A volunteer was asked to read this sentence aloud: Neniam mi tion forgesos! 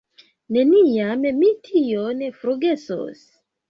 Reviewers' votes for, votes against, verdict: 3, 2, accepted